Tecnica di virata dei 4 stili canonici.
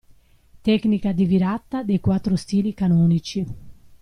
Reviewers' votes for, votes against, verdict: 0, 2, rejected